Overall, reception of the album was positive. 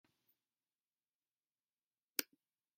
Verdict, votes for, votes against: rejected, 0, 2